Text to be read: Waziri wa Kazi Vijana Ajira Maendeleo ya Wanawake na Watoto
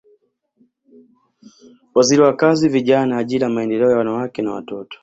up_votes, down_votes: 0, 2